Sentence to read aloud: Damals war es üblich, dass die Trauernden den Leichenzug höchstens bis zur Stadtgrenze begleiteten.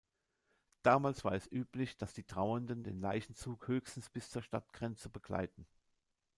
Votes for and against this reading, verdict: 0, 2, rejected